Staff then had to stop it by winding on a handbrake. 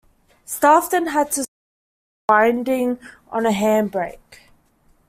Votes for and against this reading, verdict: 0, 2, rejected